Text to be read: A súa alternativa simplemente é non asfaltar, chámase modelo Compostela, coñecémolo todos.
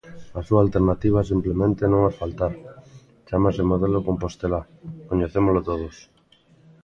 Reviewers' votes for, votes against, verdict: 2, 1, accepted